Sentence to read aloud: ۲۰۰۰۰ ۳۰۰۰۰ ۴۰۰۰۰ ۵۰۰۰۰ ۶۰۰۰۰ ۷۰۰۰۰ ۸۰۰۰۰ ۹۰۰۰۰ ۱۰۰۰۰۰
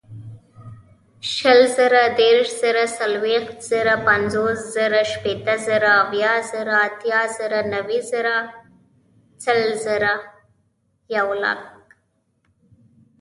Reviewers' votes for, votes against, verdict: 0, 2, rejected